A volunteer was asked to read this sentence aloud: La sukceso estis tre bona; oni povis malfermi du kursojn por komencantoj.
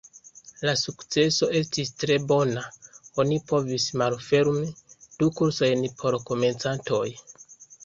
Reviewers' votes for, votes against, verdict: 2, 1, accepted